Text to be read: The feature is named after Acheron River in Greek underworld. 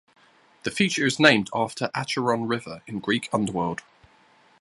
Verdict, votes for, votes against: accepted, 2, 0